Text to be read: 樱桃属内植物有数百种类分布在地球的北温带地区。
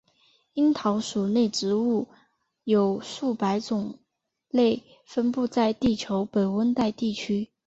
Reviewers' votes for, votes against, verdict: 3, 0, accepted